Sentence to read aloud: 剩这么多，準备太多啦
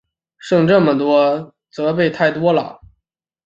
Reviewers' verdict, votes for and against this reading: rejected, 1, 2